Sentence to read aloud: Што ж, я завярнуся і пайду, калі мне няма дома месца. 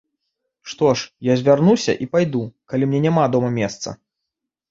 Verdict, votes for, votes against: rejected, 1, 2